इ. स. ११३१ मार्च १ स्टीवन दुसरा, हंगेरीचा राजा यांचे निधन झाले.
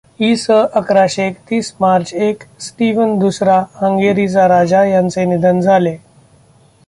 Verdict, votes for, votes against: rejected, 0, 2